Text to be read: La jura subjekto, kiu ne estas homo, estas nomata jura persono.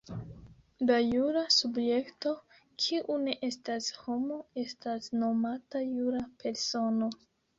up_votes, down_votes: 2, 0